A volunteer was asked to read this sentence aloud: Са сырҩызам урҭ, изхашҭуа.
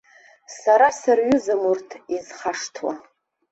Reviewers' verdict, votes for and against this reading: accepted, 2, 0